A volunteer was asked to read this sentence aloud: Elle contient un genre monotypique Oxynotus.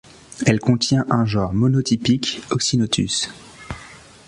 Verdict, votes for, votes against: accepted, 2, 0